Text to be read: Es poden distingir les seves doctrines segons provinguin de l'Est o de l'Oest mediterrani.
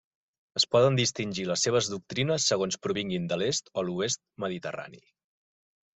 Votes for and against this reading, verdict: 1, 2, rejected